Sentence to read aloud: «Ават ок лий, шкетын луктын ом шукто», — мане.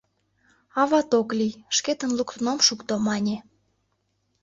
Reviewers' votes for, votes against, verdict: 2, 0, accepted